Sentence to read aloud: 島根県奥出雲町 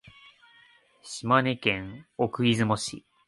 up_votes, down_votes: 0, 2